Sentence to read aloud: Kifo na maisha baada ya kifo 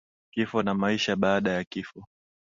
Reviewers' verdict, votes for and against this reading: accepted, 2, 0